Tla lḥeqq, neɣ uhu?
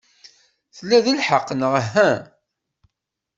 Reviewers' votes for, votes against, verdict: 1, 2, rejected